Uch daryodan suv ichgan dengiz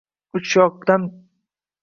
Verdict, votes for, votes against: rejected, 0, 2